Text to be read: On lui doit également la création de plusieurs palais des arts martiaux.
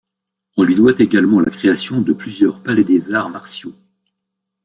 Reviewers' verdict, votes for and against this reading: accepted, 2, 0